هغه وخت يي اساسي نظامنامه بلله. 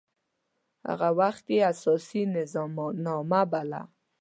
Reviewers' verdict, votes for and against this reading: rejected, 1, 2